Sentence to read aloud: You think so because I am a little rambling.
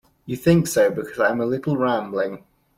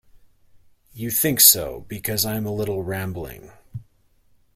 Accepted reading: second